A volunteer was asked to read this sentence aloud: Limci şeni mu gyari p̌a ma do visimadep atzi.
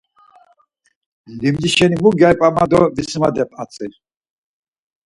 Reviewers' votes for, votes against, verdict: 4, 2, accepted